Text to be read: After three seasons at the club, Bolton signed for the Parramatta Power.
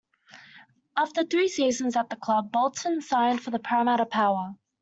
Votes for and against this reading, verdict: 2, 0, accepted